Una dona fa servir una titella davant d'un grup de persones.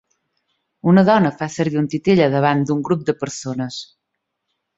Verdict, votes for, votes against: rejected, 2, 3